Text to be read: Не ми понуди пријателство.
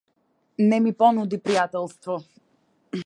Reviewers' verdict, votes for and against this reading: accepted, 2, 0